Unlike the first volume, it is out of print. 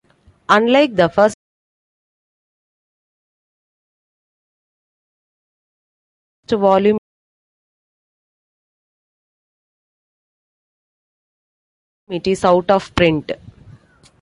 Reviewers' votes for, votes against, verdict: 0, 2, rejected